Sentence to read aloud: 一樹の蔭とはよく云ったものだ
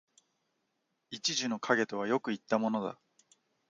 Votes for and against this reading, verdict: 2, 0, accepted